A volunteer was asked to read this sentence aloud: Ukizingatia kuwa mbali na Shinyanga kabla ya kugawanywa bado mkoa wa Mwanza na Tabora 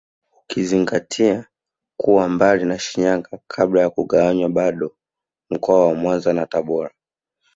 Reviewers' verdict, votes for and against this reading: accepted, 4, 1